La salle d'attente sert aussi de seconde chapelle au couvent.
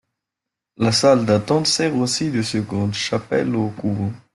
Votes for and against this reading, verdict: 2, 0, accepted